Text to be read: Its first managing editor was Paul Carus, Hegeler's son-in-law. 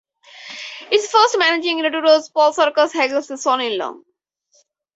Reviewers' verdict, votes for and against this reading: rejected, 2, 2